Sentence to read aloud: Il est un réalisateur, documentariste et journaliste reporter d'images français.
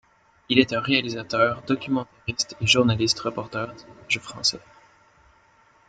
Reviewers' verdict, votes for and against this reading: rejected, 0, 2